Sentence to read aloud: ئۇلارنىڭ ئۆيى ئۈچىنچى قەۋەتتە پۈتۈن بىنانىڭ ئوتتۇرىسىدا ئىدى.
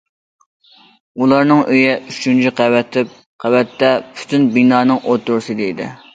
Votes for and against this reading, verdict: 0, 2, rejected